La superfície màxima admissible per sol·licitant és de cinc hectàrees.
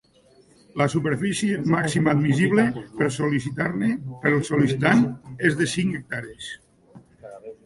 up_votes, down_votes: 0, 2